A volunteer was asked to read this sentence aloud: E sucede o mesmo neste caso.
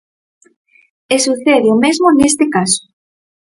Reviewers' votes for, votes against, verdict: 4, 0, accepted